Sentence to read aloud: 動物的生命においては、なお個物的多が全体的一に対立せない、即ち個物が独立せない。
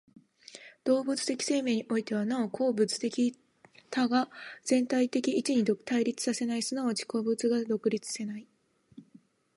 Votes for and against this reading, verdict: 0, 2, rejected